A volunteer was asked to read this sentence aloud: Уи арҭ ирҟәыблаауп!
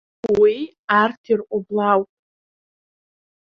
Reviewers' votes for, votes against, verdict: 2, 1, accepted